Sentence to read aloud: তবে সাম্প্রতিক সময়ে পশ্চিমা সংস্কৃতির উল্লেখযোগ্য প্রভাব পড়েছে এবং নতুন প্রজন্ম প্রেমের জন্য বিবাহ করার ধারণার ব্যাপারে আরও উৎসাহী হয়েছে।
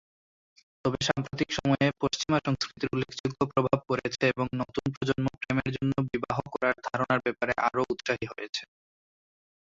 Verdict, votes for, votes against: rejected, 0, 2